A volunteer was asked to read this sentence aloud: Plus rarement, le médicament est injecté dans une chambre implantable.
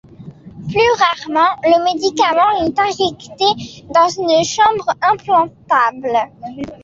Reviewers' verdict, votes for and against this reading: accepted, 2, 0